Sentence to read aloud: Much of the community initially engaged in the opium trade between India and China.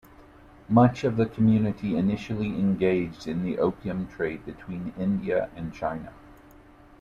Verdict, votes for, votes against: accepted, 2, 0